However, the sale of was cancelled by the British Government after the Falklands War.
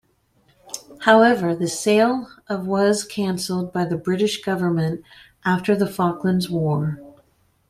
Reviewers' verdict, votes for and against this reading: accepted, 3, 0